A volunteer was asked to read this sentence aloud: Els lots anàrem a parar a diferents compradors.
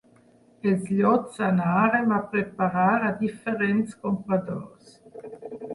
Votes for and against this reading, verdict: 2, 4, rejected